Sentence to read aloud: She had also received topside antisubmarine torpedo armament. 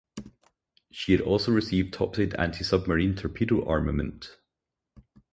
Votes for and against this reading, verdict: 2, 2, rejected